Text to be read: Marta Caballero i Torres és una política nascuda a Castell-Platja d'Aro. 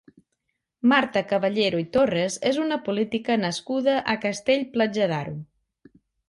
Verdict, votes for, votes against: accepted, 2, 0